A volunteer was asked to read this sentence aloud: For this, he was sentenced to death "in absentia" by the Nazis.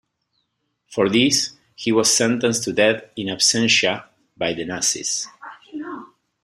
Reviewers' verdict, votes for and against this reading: accepted, 2, 0